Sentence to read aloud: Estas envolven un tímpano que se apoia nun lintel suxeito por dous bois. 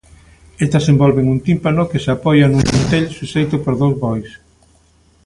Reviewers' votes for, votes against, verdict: 2, 1, accepted